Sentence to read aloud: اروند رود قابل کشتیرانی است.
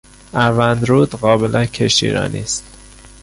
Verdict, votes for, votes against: rejected, 0, 2